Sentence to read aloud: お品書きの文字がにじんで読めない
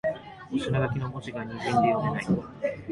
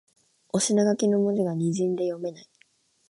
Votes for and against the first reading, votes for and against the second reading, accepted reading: 1, 2, 2, 1, second